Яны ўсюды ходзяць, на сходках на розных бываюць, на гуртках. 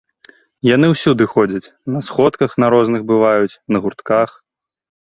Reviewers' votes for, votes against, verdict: 2, 0, accepted